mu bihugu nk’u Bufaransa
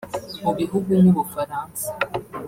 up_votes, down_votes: 0, 2